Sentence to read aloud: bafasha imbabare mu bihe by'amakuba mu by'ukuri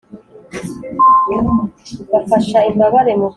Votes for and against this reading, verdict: 2, 3, rejected